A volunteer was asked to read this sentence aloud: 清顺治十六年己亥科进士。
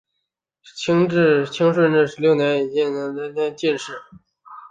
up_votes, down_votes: 2, 3